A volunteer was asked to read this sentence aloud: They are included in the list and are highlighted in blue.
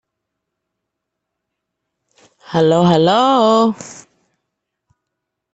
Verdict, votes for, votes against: rejected, 0, 2